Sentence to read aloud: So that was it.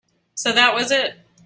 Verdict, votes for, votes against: accepted, 4, 0